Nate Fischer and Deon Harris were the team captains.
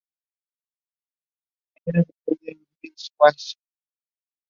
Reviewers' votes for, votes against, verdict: 0, 2, rejected